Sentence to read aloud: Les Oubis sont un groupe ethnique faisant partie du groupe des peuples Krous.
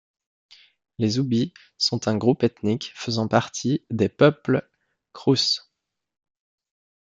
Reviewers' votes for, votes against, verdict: 0, 2, rejected